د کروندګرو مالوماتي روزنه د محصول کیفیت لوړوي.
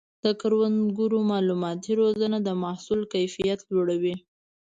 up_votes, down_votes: 2, 0